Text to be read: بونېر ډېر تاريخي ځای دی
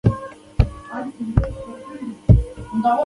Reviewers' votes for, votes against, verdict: 0, 2, rejected